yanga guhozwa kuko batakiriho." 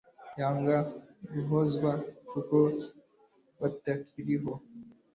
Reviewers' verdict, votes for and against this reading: accepted, 2, 0